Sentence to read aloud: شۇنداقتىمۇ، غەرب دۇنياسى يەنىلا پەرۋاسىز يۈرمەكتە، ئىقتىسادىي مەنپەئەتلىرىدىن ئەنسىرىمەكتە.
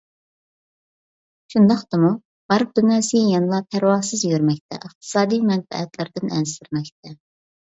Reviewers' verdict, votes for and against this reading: rejected, 0, 2